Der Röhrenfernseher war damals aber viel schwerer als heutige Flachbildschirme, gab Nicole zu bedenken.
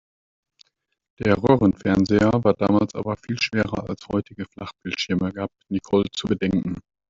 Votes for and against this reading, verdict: 0, 2, rejected